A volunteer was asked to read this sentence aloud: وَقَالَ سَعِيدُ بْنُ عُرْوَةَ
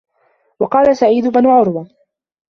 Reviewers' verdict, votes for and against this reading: accepted, 2, 1